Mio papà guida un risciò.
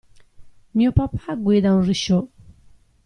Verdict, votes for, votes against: rejected, 0, 2